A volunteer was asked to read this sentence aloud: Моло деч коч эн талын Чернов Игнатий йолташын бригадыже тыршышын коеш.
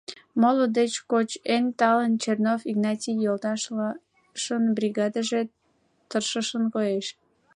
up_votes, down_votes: 0, 2